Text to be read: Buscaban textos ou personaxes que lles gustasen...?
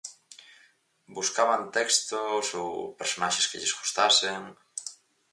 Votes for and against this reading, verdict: 4, 0, accepted